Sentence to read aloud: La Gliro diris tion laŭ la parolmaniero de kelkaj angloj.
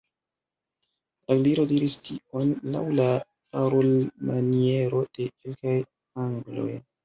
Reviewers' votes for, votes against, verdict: 0, 2, rejected